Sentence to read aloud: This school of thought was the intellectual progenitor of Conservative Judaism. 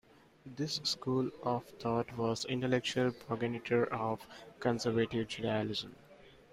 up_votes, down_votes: 1, 2